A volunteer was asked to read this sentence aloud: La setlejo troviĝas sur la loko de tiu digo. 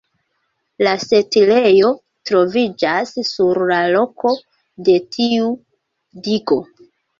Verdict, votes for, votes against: accepted, 2, 0